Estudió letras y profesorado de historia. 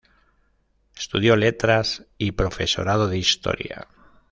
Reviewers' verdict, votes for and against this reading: accepted, 2, 0